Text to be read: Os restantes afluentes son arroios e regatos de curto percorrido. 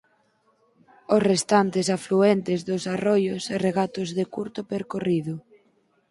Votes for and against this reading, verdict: 2, 4, rejected